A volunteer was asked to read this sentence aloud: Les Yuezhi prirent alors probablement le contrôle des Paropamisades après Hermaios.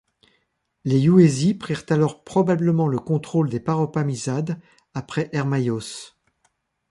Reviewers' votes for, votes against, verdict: 1, 2, rejected